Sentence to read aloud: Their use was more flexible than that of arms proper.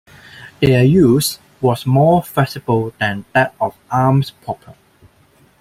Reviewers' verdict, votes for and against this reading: rejected, 1, 2